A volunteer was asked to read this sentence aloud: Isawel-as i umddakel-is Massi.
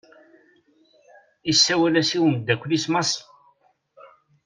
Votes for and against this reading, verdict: 2, 0, accepted